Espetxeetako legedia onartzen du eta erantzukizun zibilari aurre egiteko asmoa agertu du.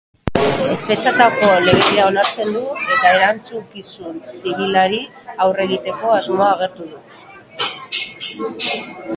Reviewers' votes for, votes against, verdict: 1, 2, rejected